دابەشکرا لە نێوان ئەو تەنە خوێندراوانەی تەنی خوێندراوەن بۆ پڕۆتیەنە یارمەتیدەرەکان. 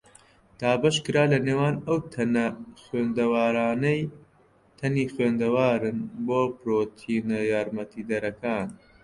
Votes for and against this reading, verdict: 0, 3, rejected